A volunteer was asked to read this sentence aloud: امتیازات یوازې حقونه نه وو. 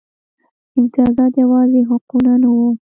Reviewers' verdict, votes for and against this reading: accepted, 2, 0